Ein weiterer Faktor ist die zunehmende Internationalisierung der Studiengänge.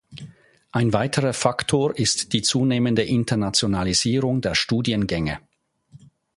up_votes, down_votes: 2, 0